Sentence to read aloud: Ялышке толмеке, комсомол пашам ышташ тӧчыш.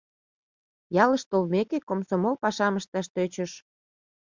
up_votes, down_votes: 0, 2